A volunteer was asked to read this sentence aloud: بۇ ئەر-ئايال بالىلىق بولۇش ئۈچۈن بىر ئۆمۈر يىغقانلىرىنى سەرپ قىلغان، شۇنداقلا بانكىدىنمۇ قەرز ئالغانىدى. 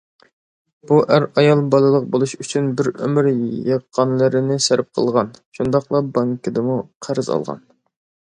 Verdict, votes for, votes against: rejected, 0, 2